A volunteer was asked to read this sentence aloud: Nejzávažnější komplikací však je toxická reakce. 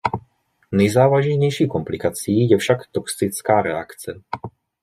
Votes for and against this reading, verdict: 0, 2, rejected